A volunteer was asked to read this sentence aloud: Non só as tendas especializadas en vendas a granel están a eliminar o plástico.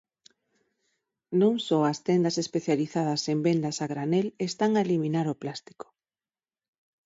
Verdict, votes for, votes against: accepted, 6, 2